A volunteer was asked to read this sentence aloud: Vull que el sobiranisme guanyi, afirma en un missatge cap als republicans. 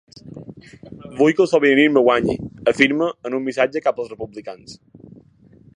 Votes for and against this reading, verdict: 2, 0, accepted